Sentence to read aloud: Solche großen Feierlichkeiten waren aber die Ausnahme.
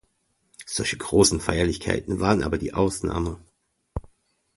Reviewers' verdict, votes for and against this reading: accepted, 2, 0